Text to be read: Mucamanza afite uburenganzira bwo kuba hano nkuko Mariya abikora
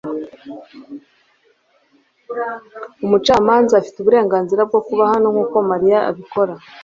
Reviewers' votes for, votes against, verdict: 1, 2, rejected